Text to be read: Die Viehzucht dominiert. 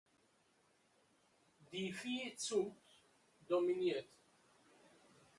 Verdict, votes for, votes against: rejected, 0, 2